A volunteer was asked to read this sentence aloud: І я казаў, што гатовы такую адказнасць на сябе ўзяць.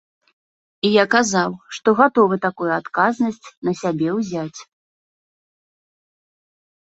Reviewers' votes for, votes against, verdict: 3, 1, accepted